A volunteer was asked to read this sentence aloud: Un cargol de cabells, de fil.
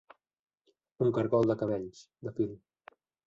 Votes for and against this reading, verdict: 0, 2, rejected